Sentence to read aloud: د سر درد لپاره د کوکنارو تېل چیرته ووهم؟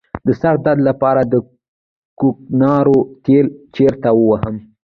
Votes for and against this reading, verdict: 1, 2, rejected